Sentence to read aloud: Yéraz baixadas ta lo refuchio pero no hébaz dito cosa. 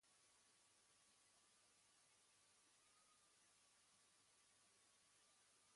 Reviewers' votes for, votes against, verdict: 1, 2, rejected